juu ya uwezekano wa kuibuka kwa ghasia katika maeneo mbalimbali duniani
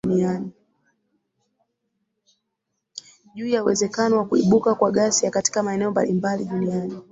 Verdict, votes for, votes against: rejected, 1, 2